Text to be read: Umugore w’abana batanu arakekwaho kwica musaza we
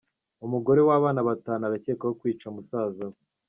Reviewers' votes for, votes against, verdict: 3, 0, accepted